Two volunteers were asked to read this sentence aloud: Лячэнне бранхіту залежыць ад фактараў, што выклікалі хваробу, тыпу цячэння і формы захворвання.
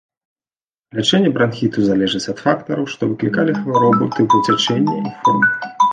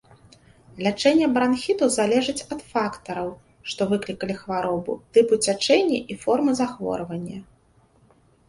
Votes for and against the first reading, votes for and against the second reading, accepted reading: 0, 2, 2, 0, second